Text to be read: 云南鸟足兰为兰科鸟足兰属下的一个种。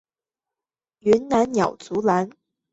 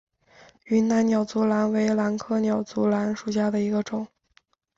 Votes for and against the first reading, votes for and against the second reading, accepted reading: 0, 2, 2, 0, second